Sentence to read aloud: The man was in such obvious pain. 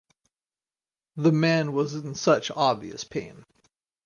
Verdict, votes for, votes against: accepted, 4, 0